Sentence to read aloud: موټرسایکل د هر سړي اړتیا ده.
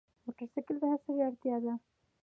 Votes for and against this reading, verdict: 2, 1, accepted